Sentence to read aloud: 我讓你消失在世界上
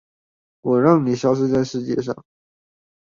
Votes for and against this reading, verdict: 2, 0, accepted